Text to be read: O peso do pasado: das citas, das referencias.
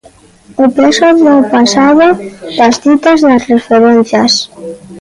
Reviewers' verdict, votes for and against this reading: rejected, 1, 2